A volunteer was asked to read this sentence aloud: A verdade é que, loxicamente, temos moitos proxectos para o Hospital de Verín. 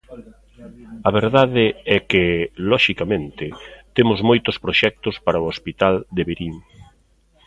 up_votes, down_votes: 2, 0